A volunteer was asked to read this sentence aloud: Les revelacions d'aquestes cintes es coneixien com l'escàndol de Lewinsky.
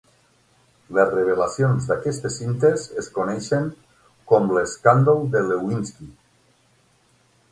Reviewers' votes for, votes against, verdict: 0, 6, rejected